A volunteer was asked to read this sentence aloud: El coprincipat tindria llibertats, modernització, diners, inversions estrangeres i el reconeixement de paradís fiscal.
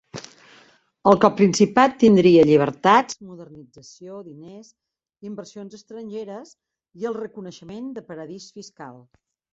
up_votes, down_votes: 1, 2